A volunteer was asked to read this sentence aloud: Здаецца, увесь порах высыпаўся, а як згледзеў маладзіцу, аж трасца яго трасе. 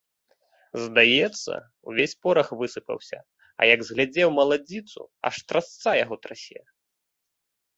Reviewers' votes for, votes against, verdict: 1, 2, rejected